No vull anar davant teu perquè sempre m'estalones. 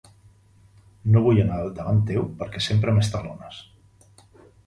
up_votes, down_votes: 1, 2